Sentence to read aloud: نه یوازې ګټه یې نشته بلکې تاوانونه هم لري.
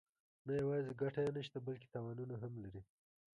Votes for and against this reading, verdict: 2, 0, accepted